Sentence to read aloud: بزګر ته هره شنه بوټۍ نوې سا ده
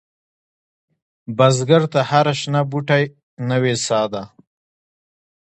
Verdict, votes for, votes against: accepted, 2, 0